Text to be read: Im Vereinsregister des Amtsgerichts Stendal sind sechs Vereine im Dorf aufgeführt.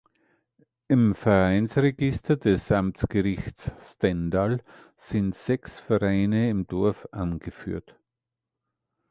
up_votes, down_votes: 2, 3